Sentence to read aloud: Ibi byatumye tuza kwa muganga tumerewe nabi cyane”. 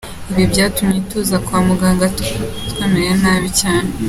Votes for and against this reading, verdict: 1, 3, rejected